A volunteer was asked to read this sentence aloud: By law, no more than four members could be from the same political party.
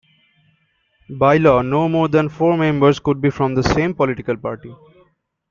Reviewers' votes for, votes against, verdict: 2, 0, accepted